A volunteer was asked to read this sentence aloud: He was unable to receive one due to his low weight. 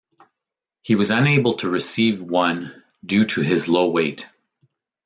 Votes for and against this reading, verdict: 2, 0, accepted